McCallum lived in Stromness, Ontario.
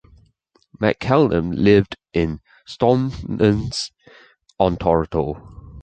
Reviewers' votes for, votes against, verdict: 1, 2, rejected